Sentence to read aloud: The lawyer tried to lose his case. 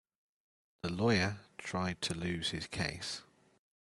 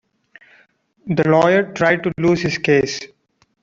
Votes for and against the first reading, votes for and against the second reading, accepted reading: 2, 0, 0, 2, first